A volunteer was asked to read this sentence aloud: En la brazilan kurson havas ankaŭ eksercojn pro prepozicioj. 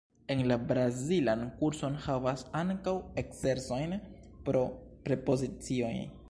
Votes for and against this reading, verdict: 0, 2, rejected